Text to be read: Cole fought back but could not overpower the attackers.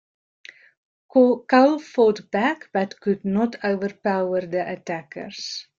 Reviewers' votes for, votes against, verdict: 2, 1, accepted